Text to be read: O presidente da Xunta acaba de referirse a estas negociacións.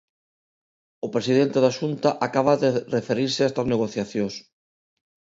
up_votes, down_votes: 2, 0